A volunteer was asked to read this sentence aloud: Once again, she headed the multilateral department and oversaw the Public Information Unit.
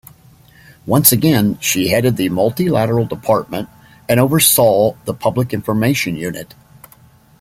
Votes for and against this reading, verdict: 2, 0, accepted